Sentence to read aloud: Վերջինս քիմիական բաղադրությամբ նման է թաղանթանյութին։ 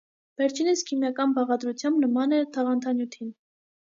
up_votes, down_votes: 2, 0